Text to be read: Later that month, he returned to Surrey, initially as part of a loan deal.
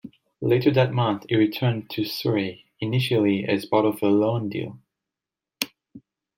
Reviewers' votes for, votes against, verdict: 2, 0, accepted